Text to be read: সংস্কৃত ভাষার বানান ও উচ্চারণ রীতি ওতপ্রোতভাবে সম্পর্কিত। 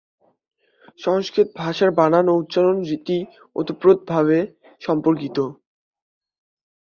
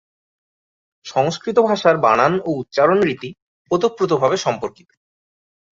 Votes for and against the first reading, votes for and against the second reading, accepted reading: 1, 2, 2, 0, second